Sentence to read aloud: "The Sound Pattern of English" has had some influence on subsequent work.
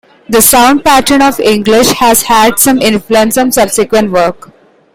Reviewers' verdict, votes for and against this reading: accepted, 2, 0